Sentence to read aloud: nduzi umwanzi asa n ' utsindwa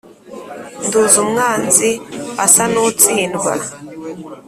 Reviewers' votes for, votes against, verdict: 3, 0, accepted